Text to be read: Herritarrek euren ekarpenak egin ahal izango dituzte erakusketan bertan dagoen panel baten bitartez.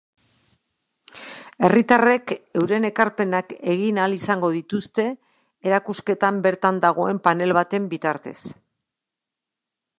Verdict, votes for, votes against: accepted, 2, 0